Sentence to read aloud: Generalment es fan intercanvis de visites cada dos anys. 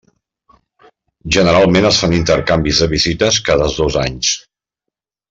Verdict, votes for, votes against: accepted, 2, 1